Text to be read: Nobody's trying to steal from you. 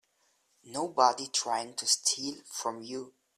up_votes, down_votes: 0, 2